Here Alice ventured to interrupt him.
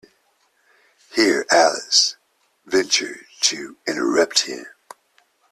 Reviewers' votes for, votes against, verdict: 2, 0, accepted